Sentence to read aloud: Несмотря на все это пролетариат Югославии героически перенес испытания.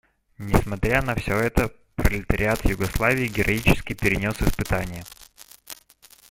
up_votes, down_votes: 1, 2